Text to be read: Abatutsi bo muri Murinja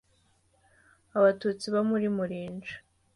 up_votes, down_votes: 2, 0